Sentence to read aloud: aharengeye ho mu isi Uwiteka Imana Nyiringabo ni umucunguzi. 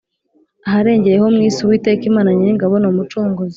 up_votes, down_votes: 2, 0